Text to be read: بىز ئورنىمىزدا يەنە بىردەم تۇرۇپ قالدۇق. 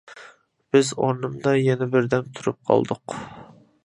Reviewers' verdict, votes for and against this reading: rejected, 0, 2